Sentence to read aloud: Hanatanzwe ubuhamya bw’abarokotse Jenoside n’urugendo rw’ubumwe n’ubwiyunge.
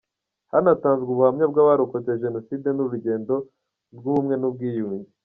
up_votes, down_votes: 2, 0